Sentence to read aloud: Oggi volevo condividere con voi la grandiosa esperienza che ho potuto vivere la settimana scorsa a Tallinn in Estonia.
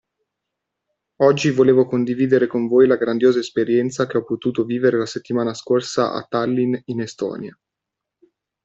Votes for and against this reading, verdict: 2, 0, accepted